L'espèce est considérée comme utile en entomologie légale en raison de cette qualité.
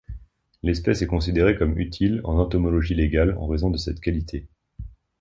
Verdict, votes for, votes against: accepted, 2, 0